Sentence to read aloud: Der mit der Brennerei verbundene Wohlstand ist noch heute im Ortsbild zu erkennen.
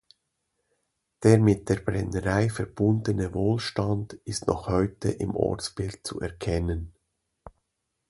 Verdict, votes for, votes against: accepted, 2, 0